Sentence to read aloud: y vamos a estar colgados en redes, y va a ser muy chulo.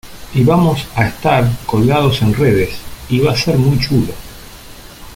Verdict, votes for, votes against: accepted, 2, 0